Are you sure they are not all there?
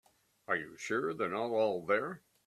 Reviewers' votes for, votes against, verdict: 0, 2, rejected